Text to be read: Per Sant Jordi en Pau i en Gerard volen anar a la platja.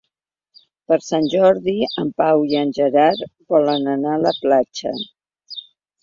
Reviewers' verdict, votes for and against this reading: accepted, 3, 0